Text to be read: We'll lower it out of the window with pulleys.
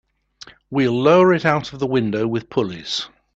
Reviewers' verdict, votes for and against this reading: accepted, 2, 0